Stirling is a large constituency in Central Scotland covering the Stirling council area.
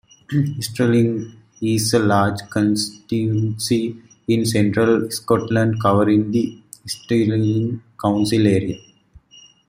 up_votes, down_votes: 2, 0